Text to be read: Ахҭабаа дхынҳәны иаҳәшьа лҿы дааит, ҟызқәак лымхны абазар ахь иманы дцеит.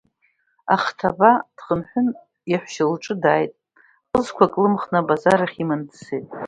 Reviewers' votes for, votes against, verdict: 2, 1, accepted